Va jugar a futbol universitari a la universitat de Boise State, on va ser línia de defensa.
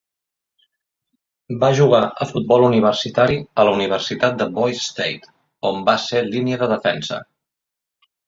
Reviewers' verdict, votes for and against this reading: accepted, 2, 0